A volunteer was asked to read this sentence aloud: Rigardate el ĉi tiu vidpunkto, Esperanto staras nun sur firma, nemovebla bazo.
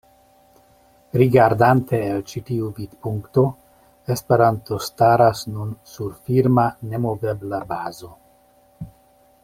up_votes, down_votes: 2, 0